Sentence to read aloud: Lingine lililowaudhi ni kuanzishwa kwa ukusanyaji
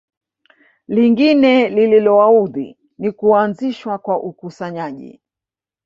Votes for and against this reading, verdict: 1, 2, rejected